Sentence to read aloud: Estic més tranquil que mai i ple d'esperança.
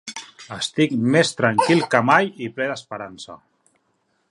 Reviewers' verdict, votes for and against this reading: accepted, 3, 1